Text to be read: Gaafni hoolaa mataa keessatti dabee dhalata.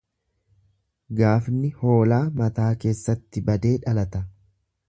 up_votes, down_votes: 1, 2